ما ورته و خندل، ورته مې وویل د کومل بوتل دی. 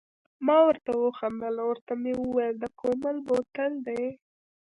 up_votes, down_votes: 2, 0